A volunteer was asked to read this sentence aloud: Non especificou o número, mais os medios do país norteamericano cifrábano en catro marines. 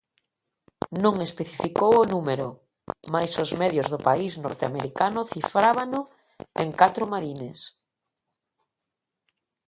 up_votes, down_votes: 2, 0